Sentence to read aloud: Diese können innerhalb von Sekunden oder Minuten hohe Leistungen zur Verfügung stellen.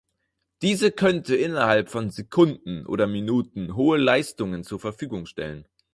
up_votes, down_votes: 0, 4